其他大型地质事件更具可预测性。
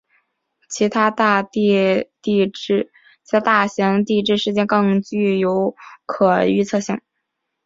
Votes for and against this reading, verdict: 0, 2, rejected